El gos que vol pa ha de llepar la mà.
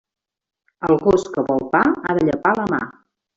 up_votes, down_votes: 3, 0